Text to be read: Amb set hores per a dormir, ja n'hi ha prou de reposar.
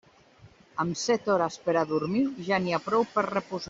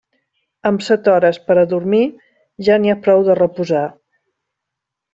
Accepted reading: second